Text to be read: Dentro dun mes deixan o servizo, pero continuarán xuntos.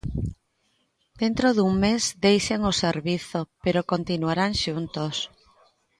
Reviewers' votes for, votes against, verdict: 2, 0, accepted